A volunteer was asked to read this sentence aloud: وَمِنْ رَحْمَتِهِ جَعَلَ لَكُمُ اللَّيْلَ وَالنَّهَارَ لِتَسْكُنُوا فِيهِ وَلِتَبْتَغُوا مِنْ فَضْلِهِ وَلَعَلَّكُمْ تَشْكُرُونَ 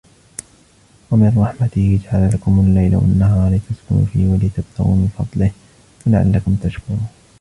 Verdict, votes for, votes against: rejected, 0, 2